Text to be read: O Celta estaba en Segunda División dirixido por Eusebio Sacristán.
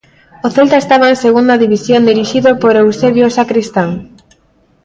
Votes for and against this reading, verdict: 0, 2, rejected